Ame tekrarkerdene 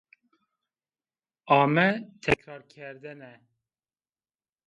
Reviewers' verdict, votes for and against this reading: accepted, 2, 0